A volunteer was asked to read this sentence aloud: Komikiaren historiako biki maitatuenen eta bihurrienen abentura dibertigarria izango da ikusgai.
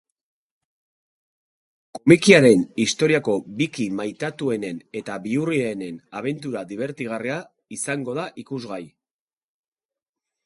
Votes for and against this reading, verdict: 0, 2, rejected